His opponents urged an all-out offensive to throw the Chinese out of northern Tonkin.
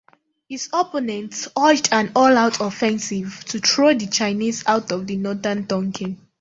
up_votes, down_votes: 2, 0